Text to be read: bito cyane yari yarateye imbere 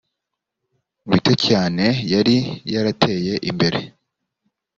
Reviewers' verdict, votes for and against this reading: accepted, 2, 0